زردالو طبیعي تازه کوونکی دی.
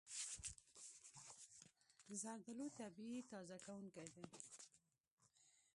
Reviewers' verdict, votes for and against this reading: rejected, 0, 2